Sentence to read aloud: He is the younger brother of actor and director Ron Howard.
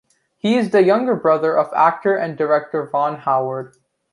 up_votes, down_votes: 2, 0